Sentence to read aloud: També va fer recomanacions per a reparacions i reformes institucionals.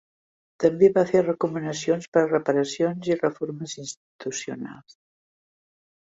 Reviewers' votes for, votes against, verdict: 3, 1, accepted